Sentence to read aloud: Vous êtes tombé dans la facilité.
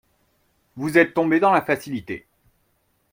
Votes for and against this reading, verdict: 2, 0, accepted